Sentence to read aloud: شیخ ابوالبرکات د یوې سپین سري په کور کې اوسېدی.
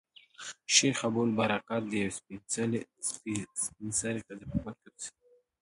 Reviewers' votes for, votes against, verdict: 0, 2, rejected